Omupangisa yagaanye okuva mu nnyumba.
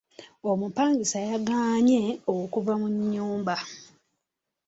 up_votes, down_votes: 2, 0